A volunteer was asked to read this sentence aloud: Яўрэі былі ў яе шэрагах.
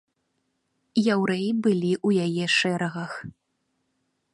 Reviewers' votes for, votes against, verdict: 2, 0, accepted